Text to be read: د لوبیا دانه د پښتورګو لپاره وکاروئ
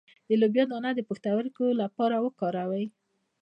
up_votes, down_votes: 1, 3